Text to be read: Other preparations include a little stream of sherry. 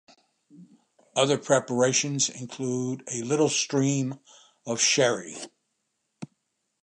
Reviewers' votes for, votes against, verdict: 2, 0, accepted